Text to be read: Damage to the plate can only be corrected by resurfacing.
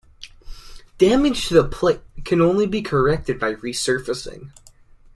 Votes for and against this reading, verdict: 2, 0, accepted